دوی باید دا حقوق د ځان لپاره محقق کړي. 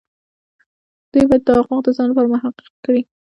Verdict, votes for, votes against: accepted, 2, 0